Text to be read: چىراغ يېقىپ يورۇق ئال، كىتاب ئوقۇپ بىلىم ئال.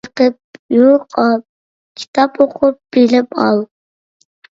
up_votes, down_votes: 0, 2